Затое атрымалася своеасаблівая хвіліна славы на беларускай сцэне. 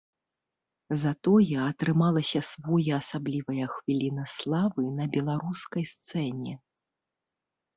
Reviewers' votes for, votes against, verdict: 3, 0, accepted